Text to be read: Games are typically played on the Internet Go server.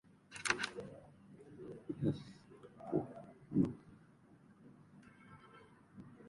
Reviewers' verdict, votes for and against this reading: rejected, 0, 2